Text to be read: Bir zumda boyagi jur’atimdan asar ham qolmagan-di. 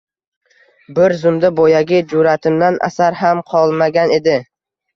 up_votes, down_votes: 2, 0